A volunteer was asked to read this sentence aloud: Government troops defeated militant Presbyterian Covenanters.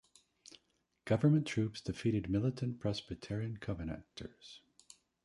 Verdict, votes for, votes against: rejected, 1, 2